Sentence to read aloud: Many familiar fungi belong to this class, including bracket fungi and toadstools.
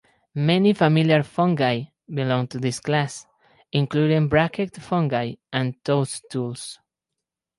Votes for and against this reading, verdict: 4, 0, accepted